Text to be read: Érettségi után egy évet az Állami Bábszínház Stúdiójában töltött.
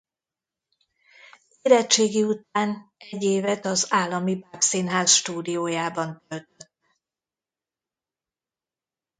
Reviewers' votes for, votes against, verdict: 0, 2, rejected